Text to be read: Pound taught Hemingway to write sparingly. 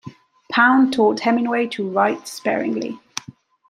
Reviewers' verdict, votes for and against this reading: accepted, 2, 0